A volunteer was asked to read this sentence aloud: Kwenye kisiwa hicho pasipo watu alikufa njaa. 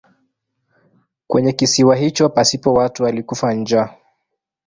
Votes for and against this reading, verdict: 1, 2, rejected